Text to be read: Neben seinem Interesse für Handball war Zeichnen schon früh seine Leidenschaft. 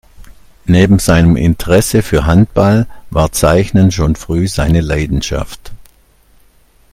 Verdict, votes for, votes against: accepted, 2, 0